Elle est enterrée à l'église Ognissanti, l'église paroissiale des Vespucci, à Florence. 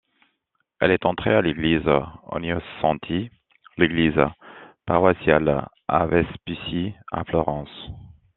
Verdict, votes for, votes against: accepted, 2, 1